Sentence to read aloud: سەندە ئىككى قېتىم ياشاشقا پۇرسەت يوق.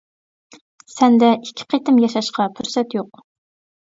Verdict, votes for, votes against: accepted, 2, 0